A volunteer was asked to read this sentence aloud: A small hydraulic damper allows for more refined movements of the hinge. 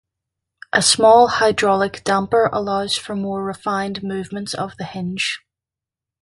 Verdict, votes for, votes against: accepted, 2, 0